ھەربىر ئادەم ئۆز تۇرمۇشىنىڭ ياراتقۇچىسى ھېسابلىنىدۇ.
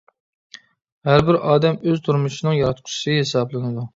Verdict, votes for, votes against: accepted, 2, 1